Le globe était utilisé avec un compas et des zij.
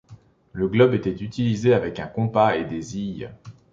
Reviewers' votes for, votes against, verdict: 2, 0, accepted